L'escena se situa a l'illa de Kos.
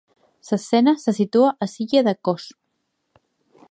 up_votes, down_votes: 1, 2